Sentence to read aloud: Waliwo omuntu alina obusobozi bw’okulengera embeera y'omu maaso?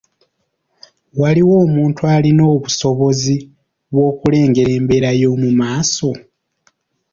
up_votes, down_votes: 2, 0